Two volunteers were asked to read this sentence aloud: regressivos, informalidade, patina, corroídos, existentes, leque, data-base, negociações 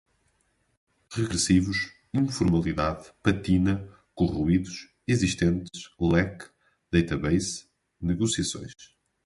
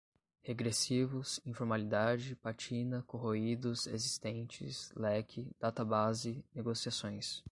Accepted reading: first